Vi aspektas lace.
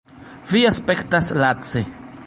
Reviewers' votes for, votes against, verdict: 1, 2, rejected